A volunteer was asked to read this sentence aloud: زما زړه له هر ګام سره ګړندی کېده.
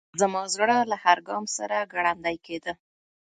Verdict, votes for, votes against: accepted, 2, 0